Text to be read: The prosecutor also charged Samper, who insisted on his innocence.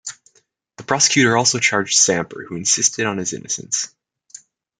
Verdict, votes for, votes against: accepted, 2, 0